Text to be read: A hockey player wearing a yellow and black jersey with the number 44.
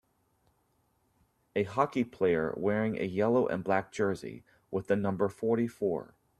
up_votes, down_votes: 0, 2